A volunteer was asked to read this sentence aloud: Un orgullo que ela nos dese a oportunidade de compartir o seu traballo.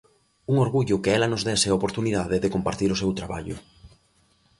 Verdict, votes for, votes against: accepted, 2, 0